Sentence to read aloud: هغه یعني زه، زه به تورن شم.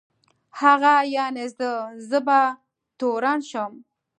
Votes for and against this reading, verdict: 2, 0, accepted